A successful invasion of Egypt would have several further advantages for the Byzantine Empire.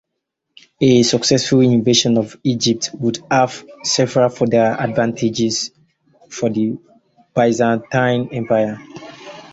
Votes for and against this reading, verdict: 0, 4, rejected